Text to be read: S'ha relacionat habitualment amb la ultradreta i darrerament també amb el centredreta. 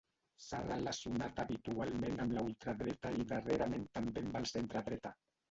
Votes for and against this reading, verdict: 0, 2, rejected